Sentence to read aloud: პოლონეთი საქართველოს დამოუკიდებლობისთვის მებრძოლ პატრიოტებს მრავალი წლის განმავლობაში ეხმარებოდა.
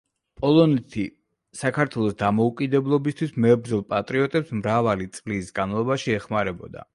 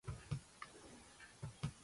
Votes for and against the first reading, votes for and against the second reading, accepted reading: 2, 0, 0, 2, first